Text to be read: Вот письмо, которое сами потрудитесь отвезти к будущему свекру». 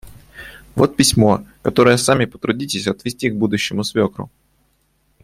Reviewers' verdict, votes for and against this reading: accepted, 2, 0